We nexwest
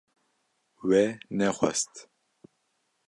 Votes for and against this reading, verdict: 2, 0, accepted